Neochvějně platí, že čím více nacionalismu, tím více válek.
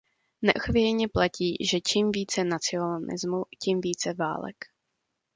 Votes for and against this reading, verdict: 0, 2, rejected